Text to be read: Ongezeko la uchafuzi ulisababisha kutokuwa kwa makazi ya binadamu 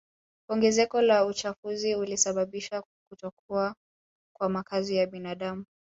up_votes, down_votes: 2, 0